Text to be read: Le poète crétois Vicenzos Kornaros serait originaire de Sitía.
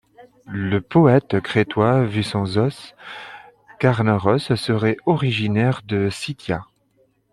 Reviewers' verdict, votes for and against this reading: accepted, 2, 1